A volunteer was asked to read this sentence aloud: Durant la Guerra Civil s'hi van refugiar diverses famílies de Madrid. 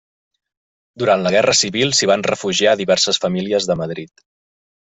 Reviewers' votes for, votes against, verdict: 3, 0, accepted